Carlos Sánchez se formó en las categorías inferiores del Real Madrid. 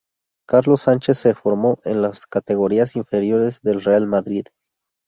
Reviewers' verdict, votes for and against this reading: accepted, 2, 0